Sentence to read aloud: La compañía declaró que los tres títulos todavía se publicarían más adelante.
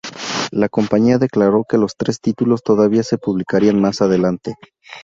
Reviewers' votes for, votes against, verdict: 2, 2, rejected